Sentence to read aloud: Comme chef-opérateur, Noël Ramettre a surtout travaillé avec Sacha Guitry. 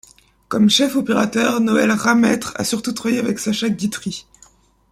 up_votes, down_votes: 2, 1